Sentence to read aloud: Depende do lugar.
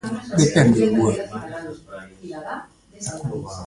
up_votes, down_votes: 0, 2